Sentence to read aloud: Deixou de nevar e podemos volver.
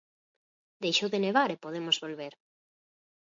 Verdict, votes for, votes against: accepted, 4, 0